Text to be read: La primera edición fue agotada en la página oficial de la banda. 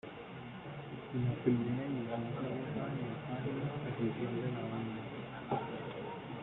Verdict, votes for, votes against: rejected, 0, 2